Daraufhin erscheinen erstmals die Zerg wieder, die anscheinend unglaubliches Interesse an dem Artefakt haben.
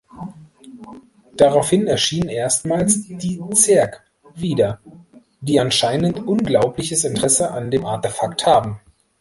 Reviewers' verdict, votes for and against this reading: accepted, 2, 1